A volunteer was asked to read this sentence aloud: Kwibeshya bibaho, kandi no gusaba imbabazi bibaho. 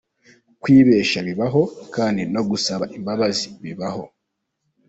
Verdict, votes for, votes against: accepted, 2, 0